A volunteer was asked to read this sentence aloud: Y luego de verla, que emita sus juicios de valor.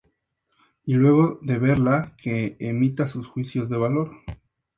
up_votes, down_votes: 2, 0